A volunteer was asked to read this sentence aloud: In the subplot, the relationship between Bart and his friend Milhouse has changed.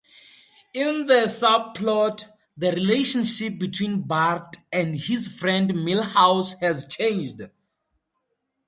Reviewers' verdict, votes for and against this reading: accepted, 2, 0